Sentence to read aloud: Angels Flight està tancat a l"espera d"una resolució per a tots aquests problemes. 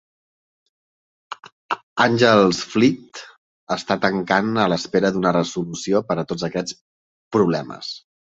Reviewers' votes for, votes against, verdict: 0, 2, rejected